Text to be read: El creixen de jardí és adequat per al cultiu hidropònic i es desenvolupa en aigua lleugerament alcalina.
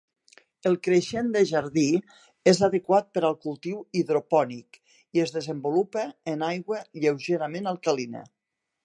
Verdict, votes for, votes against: accepted, 2, 0